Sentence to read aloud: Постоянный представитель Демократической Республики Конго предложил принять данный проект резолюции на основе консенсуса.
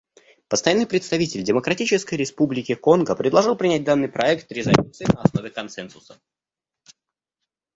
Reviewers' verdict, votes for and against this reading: accepted, 2, 0